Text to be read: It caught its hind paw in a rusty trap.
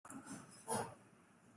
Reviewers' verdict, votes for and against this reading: rejected, 0, 2